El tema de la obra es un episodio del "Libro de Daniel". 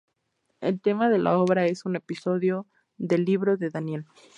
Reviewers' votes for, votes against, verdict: 2, 0, accepted